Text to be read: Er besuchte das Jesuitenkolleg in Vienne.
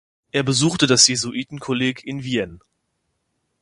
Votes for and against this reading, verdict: 2, 0, accepted